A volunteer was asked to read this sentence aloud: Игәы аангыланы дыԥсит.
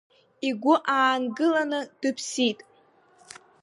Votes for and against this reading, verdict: 2, 0, accepted